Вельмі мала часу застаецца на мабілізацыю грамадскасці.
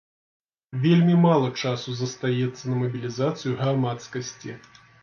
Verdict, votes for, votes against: accepted, 2, 0